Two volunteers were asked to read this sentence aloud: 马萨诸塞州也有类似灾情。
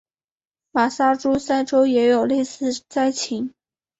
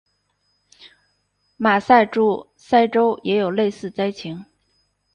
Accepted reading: first